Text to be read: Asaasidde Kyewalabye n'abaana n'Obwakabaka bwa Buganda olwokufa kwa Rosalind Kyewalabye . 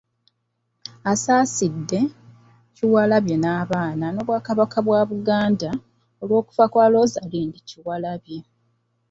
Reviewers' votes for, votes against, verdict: 0, 2, rejected